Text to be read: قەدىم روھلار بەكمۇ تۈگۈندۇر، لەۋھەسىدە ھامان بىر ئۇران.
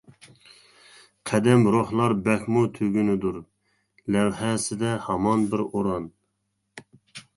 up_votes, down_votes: 0, 2